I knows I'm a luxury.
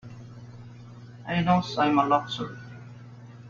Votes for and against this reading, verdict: 0, 2, rejected